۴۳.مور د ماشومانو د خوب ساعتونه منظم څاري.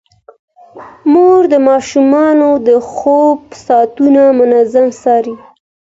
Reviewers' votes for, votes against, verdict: 0, 2, rejected